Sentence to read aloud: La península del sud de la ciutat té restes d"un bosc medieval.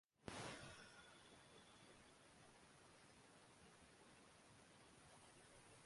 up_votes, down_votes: 0, 2